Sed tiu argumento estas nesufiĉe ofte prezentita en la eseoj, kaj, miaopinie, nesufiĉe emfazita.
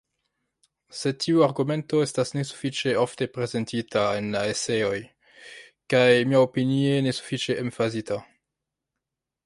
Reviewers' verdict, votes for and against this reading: rejected, 1, 2